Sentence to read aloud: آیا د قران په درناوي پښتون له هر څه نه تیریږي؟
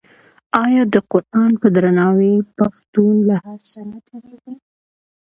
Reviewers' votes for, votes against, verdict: 1, 2, rejected